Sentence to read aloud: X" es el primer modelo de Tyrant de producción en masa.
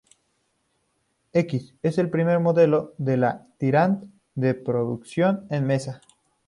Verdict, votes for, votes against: rejected, 0, 2